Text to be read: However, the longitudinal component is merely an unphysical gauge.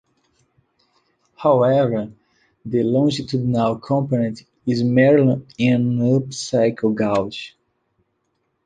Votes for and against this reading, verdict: 0, 2, rejected